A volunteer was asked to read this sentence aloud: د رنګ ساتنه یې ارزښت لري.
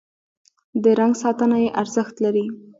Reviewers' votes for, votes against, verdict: 1, 2, rejected